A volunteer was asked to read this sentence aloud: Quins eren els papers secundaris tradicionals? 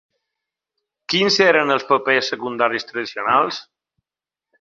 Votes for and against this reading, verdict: 2, 0, accepted